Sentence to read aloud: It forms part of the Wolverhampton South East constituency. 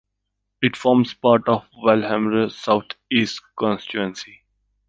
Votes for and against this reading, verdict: 1, 2, rejected